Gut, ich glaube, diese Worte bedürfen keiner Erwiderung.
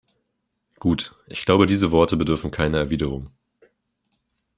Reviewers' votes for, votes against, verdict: 2, 0, accepted